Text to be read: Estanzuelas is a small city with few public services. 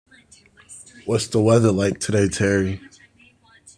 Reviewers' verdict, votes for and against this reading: rejected, 0, 3